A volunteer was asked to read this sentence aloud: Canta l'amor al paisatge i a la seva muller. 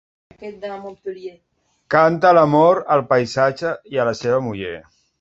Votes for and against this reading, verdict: 1, 2, rejected